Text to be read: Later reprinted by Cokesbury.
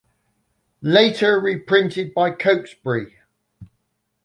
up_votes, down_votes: 2, 0